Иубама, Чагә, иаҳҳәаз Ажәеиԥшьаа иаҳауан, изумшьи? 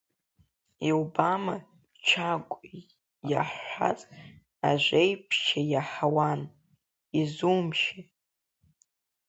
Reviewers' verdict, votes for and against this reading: accepted, 2, 1